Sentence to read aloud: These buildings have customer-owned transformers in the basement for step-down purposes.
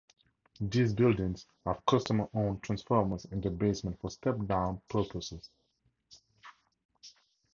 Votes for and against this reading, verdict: 2, 0, accepted